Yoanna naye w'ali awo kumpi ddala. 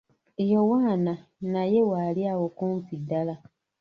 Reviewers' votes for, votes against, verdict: 1, 2, rejected